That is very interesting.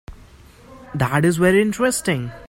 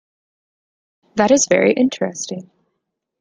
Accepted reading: second